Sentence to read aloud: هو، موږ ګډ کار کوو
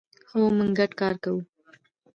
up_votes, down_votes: 1, 2